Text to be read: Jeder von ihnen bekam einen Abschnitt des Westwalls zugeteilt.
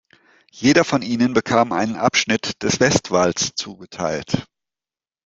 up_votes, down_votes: 2, 0